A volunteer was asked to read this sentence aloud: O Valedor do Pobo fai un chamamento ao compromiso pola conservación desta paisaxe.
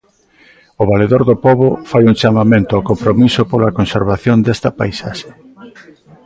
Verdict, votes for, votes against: accepted, 2, 0